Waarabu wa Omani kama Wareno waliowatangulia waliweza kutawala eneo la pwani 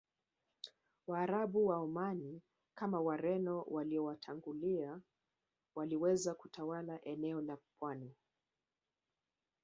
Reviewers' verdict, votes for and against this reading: accepted, 2, 0